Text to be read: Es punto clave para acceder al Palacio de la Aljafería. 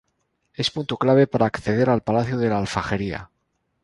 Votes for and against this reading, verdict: 0, 2, rejected